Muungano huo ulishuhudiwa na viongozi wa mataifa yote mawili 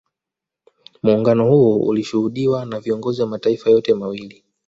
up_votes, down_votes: 2, 1